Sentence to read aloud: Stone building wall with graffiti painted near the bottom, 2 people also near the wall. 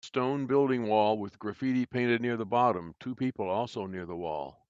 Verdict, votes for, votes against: rejected, 0, 2